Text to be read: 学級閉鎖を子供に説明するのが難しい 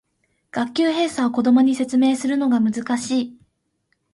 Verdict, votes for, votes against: accepted, 2, 0